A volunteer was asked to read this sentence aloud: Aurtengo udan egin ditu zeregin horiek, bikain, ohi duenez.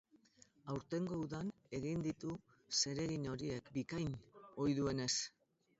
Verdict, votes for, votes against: rejected, 2, 2